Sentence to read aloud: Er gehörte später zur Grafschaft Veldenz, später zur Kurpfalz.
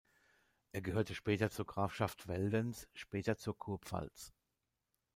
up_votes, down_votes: 0, 2